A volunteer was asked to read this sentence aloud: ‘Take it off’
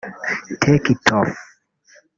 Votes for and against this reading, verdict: 1, 2, rejected